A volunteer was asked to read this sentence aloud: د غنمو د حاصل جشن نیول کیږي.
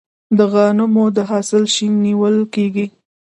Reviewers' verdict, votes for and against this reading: accepted, 2, 1